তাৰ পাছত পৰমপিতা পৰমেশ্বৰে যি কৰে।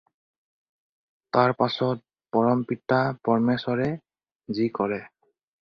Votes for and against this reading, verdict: 4, 0, accepted